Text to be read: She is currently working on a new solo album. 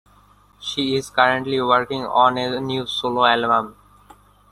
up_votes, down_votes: 1, 2